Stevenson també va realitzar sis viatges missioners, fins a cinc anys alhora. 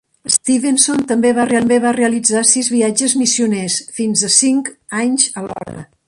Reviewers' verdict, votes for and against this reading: rejected, 0, 2